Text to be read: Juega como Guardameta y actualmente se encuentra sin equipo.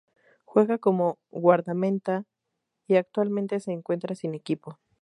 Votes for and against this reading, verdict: 0, 2, rejected